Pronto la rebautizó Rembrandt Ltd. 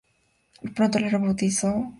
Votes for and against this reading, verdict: 0, 2, rejected